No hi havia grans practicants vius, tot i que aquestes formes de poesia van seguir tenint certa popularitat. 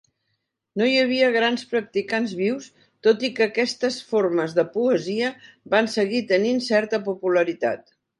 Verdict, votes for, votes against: accepted, 3, 0